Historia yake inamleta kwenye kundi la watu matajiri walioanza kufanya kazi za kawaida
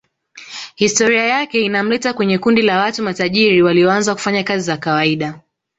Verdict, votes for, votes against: rejected, 1, 2